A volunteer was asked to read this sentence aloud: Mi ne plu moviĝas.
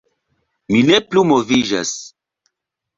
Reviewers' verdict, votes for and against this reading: rejected, 0, 2